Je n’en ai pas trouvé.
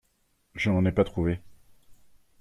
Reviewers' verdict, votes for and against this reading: rejected, 1, 2